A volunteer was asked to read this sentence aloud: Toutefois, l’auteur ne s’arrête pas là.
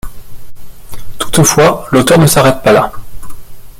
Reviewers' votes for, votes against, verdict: 2, 0, accepted